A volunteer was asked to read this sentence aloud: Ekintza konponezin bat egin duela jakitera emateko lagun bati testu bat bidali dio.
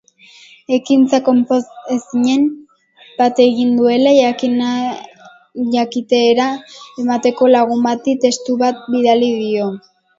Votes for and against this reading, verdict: 0, 2, rejected